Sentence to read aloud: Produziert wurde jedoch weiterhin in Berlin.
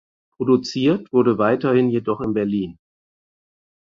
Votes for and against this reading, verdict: 0, 4, rejected